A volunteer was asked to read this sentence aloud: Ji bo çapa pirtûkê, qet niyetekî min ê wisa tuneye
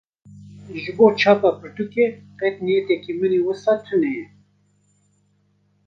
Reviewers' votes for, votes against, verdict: 1, 2, rejected